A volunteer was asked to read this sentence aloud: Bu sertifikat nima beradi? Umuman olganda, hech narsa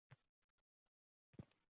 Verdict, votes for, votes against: rejected, 0, 2